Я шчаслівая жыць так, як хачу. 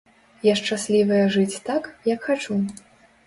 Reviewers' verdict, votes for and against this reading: accepted, 2, 0